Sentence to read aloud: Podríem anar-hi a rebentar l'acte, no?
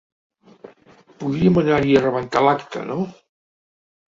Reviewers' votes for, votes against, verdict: 1, 2, rejected